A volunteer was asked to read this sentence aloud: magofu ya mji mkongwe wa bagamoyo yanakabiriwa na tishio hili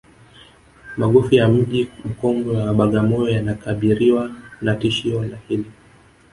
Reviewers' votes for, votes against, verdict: 2, 1, accepted